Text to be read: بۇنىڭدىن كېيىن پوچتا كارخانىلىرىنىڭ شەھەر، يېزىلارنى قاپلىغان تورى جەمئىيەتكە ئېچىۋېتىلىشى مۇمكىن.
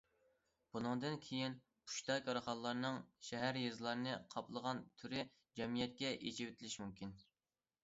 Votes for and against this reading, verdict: 0, 2, rejected